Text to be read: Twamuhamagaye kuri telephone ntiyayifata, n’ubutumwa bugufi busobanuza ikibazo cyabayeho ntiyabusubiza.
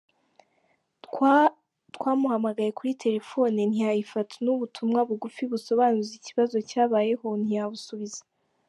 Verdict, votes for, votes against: rejected, 2, 3